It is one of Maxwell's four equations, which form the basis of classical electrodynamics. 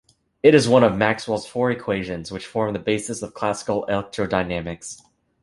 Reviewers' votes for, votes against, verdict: 0, 2, rejected